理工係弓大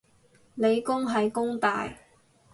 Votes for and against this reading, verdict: 2, 2, rejected